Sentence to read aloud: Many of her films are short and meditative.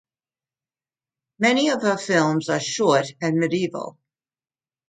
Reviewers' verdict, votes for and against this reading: rejected, 0, 2